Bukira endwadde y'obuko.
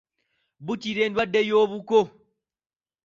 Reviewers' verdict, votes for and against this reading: accepted, 2, 0